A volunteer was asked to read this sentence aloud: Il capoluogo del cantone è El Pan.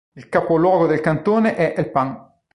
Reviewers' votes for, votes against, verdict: 2, 0, accepted